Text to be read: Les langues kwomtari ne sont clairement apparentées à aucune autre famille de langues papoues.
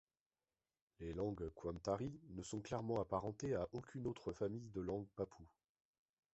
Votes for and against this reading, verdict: 2, 0, accepted